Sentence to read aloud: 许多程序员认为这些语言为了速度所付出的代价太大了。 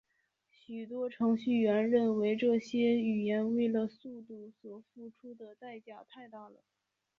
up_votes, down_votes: 2, 3